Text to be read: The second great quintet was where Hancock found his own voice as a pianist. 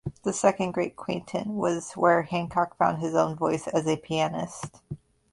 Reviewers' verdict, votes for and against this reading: accepted, 2, 0